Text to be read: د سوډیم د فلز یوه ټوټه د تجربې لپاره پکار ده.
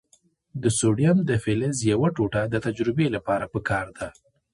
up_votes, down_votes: 2, 1